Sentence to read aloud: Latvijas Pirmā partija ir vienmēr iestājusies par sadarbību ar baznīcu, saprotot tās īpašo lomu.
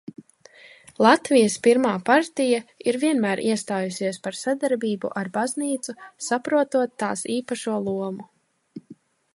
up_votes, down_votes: 2, 0